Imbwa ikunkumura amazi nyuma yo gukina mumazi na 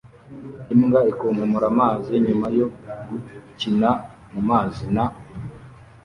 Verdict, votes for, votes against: rejected, 1, 2